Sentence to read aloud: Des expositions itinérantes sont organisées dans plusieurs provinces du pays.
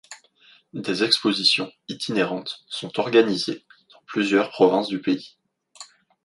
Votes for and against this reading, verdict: 1, 2, rejected